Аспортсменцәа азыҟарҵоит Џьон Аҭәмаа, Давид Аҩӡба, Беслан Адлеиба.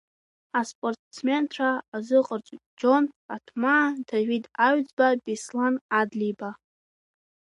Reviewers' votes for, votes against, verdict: 0, 2, rejected